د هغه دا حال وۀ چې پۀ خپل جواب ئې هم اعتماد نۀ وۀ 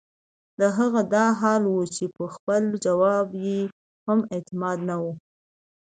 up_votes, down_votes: 2, 0